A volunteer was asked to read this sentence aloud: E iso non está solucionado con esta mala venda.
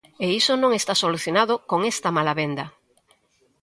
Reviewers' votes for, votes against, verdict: 2, 0, accepted